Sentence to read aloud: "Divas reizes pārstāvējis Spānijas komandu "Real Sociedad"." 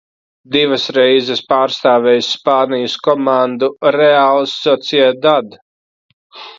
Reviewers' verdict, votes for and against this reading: rejected, 0, 2